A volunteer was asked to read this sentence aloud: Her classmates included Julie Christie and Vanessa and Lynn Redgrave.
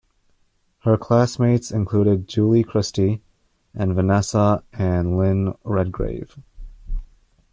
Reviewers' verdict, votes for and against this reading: accepted, 2, 0